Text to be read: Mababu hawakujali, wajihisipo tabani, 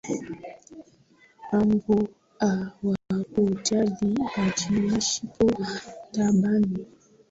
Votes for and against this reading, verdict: 0, 2, rejected